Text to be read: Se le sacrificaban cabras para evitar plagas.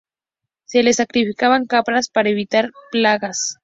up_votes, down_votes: 2, 0